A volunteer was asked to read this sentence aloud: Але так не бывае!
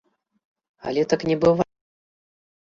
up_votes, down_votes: 0, 2